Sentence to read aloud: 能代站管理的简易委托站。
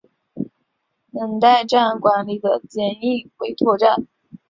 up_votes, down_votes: 5, 0